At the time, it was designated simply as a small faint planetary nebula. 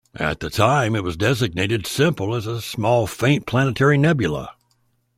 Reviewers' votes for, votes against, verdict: 1, 2, rejected